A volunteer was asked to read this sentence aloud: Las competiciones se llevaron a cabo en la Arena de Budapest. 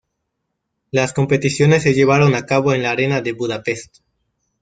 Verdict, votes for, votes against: accepted, 2, 0